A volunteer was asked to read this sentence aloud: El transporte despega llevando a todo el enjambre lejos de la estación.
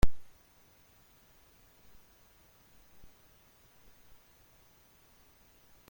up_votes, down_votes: 0, 2